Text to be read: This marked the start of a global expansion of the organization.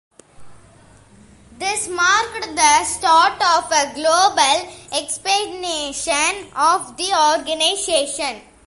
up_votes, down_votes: 0, 2